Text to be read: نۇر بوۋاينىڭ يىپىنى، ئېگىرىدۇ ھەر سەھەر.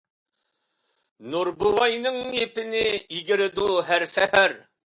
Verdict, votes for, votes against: accepted, 2, 0